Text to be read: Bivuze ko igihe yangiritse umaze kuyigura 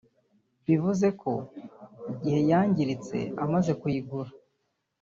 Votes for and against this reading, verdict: 1, 2, rejected